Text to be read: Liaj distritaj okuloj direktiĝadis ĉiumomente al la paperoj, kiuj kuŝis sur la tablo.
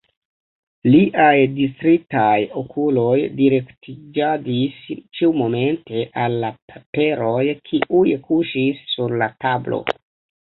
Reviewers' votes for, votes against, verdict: 1, 2, rejected